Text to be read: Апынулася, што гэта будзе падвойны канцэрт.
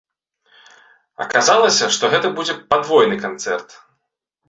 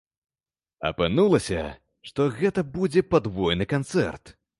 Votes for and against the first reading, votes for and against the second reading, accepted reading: 0, 2, 2, 0, second